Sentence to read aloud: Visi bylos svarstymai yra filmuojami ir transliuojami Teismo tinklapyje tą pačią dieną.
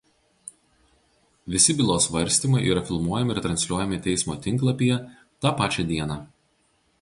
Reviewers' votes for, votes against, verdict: 4, 0, accepted